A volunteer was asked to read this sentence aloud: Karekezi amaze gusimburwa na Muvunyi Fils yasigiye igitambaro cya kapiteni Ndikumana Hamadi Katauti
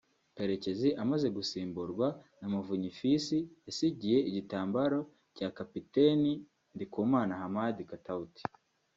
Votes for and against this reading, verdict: 2, 0, accepted